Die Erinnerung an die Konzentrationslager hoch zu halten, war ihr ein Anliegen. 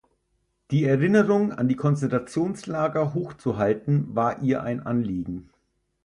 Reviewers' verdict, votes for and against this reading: accepted, 4, 2